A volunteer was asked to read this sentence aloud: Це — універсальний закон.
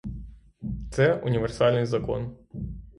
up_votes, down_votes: 3, 3